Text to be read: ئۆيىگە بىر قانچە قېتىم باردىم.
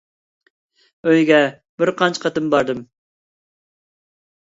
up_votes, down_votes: 2, 0